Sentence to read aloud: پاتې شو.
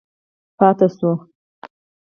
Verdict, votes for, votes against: accepted, 4, 2